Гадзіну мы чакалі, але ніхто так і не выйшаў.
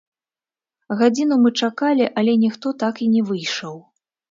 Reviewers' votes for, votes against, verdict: 0, 2, rejected